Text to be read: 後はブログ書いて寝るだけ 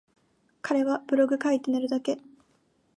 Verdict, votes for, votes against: rejected, 0, 2